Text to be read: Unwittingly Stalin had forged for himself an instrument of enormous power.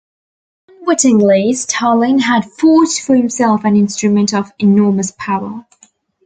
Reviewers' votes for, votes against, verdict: 1, 2, rejected